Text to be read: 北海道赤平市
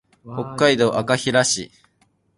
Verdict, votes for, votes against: rejected, 2, 2